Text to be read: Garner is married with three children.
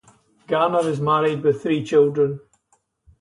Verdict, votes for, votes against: rejected, 2, 2